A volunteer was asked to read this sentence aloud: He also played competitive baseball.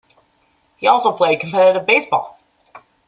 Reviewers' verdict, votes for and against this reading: accepted, 2, 0